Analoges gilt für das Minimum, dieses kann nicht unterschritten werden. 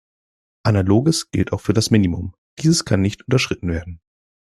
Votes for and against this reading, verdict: 1, 2, rejected